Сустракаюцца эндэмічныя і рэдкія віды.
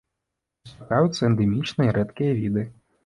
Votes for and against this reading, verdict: 0, 2, rejected